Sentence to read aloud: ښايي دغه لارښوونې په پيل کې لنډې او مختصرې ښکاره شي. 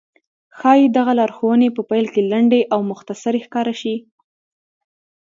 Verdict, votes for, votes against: accepted, 2, 0